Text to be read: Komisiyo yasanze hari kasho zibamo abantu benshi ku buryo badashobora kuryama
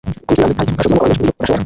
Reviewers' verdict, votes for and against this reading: rejected, 0, 2